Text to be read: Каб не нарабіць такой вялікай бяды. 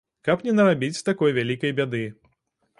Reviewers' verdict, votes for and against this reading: accepted, 2, 0